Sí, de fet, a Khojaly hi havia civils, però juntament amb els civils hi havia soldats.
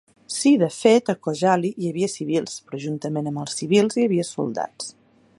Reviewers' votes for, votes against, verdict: 2, 0, accepted